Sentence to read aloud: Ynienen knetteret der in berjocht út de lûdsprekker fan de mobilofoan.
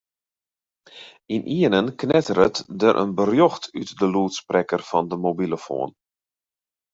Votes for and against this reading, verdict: 2, 0, accepted